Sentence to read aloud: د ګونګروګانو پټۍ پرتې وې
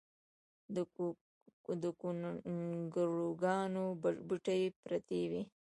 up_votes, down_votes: 0, 2